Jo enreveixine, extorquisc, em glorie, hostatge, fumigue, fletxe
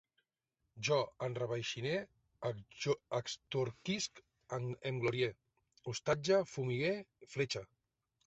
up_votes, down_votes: 0, 2